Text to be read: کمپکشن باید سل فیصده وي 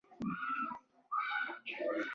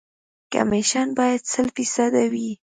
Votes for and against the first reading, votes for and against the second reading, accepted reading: 1, 2, 3, 0, second